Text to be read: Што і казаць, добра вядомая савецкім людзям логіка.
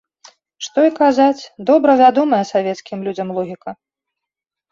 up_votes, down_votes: 2, 0